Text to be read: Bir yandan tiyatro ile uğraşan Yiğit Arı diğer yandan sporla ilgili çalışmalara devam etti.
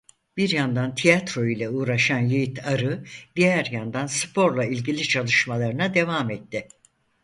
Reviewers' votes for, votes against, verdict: 0, 4, rejected